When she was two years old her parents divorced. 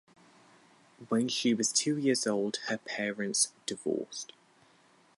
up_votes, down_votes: 4, 0